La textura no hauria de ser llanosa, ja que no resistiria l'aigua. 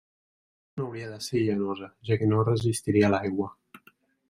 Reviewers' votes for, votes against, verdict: 0, 2, rejected